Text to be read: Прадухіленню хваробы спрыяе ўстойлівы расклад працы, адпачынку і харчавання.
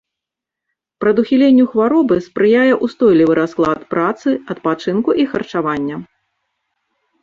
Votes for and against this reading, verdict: 2, 0, accepted